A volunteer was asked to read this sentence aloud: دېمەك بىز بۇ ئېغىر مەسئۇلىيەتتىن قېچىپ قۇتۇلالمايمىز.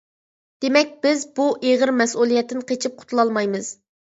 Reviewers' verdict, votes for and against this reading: accepted, 2, 0